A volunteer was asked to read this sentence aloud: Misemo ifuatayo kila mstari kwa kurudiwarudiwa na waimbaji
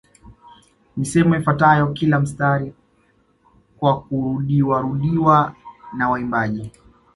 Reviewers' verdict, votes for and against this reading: accepted, 2, 1